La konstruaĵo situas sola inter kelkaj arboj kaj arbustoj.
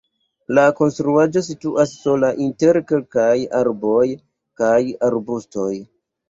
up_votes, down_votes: 2, 0